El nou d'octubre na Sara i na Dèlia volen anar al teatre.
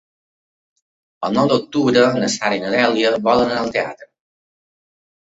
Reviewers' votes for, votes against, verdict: 3, 0, accepted